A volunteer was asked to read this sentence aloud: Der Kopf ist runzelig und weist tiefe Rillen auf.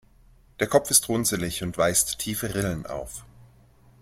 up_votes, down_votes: 2, 0